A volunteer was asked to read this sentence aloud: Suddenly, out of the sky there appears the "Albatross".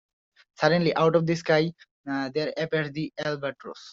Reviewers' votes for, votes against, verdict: 1, 2, rejected